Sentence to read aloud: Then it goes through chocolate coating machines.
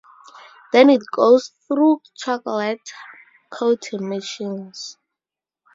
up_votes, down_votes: 2, 2